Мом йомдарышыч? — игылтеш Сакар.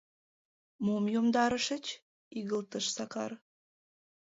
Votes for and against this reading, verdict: 1, 2, rejected